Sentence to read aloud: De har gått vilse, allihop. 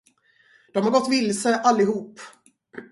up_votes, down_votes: 4, 0